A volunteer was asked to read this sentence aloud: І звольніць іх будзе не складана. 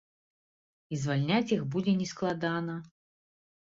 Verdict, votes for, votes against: rejected, 1, 2